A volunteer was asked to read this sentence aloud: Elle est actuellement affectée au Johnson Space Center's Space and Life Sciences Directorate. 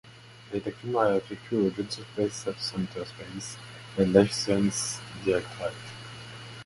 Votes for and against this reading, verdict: 0, 2, rejected